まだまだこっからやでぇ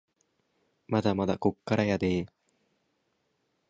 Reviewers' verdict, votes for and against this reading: accepted, 2, 0